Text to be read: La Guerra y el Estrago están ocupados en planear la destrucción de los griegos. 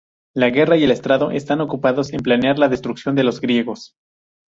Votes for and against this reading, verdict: 0, 2, rejected